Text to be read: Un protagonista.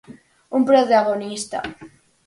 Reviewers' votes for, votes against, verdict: 4, 0, accepted